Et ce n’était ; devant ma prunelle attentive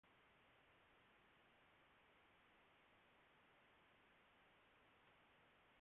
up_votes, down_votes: 0, 2